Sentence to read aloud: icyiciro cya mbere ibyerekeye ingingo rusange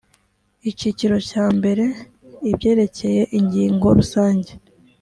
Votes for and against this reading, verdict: 4, 0, accepted